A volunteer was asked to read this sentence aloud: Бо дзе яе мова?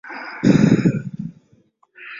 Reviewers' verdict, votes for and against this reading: rejected, 0, 2